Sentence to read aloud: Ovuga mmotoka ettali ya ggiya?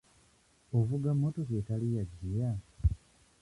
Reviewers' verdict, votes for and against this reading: rejected, 0, 2